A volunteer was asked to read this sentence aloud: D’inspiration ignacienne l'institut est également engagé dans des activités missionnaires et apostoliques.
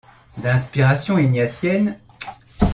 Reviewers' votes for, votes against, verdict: 0, 2, rejected